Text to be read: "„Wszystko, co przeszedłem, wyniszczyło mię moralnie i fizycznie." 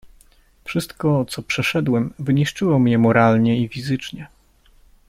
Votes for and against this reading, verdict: 3, 0, accepted